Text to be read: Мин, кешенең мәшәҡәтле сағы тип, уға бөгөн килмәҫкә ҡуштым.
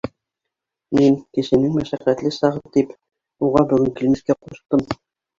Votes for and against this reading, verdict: 0, 2, rejected